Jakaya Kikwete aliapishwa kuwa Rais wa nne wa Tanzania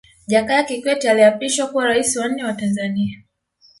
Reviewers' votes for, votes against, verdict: 1, 2, rejected